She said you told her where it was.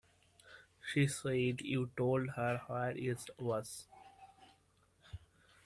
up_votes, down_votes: 1, 2